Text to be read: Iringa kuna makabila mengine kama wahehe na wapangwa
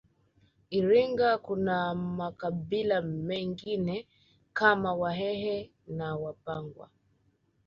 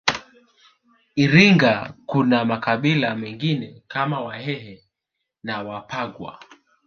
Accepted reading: first